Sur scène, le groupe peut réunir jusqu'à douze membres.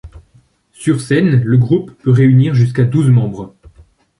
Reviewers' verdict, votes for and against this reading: accepted, 2, 0